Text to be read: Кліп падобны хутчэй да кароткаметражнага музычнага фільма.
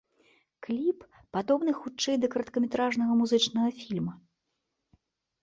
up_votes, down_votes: 2, 0